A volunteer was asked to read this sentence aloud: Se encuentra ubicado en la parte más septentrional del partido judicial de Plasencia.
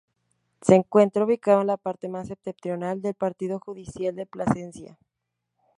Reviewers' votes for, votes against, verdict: 2, 0, accepted